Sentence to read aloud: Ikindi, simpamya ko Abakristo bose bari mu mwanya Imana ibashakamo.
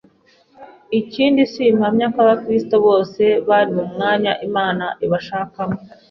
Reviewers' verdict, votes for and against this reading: accepted, 3, 0